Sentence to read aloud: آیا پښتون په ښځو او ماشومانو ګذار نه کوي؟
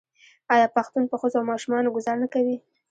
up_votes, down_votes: 0, 2